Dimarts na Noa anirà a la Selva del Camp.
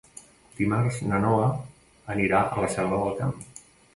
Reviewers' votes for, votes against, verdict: 2, 0, accepted